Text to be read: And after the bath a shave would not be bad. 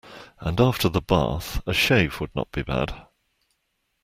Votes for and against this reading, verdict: 2, 0, accepted